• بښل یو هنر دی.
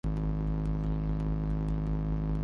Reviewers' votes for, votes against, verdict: 0, 2, rejected